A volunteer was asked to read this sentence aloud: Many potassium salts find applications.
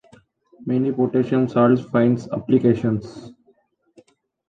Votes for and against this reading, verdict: 0, 2, rejected